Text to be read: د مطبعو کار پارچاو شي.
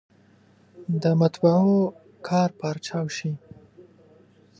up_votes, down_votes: 2, 0